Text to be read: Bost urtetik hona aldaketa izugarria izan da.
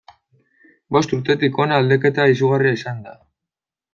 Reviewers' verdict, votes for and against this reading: accepted, 2, 0